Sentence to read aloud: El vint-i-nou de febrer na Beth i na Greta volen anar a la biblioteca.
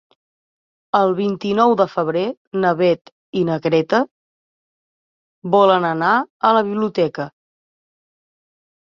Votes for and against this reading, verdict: 3, 0, accepted